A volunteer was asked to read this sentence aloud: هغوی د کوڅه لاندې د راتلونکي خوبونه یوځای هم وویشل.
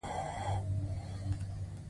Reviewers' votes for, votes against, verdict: 2, 0, accepted